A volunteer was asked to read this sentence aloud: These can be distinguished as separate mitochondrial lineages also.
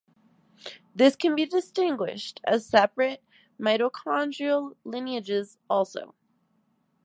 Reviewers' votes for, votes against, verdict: 0, 2, rejected